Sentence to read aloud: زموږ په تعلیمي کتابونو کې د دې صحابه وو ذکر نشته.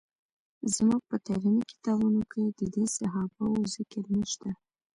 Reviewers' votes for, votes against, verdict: 3, 1, accepted